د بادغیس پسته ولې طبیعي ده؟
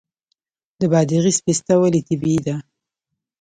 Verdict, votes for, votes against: accepted, 3, 1